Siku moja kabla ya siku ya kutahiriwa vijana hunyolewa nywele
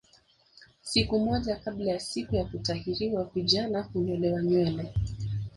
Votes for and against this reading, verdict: 1, 2, rejected